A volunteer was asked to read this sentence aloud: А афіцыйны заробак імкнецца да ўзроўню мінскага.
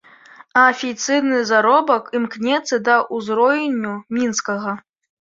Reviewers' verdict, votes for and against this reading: rejected, 0, 2